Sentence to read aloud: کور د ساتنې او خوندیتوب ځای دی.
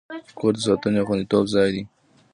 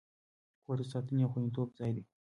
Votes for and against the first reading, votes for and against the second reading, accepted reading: 0, 2, 2, 0, second